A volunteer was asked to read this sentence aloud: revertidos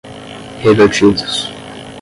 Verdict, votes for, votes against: rejected, 5, 5